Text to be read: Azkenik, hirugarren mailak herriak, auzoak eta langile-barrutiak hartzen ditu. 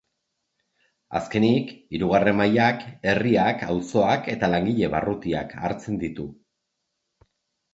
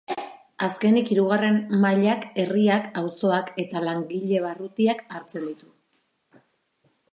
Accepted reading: first